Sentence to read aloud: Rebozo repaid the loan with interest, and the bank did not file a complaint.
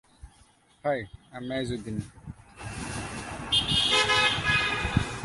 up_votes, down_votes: 0, 2